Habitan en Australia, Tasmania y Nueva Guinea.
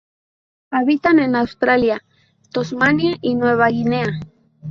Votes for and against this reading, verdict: 0, 2, rejected